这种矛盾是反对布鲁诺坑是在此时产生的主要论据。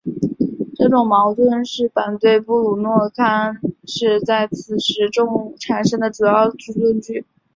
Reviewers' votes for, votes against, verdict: 3, 1, accepted